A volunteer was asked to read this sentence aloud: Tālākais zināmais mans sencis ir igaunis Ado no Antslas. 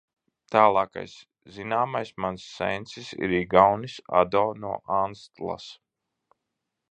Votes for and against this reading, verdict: 1, 2, rejected